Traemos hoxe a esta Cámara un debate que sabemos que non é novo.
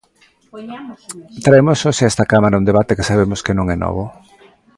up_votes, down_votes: 1, 2